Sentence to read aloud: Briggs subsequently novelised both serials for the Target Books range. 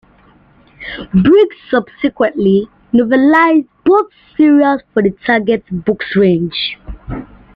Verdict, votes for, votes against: accepted, 2, 1